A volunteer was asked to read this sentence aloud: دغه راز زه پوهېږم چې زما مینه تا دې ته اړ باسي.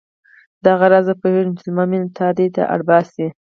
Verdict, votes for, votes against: rejected, 2, 4